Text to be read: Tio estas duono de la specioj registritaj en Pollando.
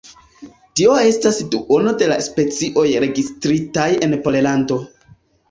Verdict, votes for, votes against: accepted, 2, 0